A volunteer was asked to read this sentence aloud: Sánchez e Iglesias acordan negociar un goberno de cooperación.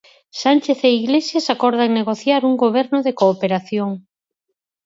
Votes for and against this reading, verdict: 4, 0, accepted